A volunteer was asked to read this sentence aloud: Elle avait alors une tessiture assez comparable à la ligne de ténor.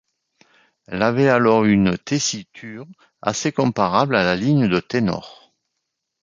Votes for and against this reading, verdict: 2, 0, accepted